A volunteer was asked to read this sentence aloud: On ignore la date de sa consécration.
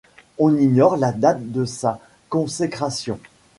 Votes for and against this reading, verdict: 2, 0, accepted